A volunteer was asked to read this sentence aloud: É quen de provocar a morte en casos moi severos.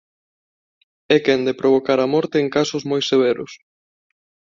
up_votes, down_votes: 2, 1